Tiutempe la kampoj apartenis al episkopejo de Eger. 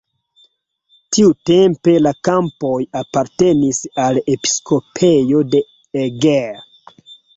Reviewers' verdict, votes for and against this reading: rejected, 1, 2